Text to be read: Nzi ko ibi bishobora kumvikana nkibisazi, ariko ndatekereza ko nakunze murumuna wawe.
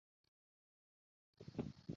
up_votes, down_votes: 0, 2